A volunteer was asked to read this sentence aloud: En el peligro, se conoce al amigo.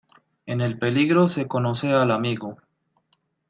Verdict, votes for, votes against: rejected, 1, 2